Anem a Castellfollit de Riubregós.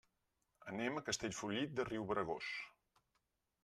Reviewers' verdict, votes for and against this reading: accepted, 4, 0